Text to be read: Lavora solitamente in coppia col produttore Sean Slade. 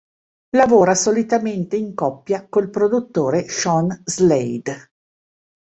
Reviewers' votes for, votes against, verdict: 2, 0, accepted